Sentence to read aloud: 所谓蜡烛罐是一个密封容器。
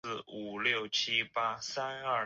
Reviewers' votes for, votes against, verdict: 1, 2, rejected